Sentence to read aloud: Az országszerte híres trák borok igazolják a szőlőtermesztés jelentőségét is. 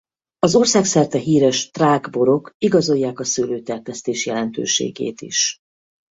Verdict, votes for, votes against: rejected, 0, 4